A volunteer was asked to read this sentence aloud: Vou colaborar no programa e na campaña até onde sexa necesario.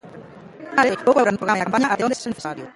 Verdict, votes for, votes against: rejected, 0, 2